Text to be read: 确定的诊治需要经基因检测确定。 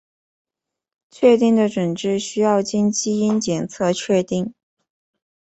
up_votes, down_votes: 2, 0